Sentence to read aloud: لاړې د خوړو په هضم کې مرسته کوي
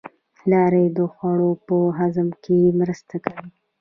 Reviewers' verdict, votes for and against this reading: rejected, 0, 2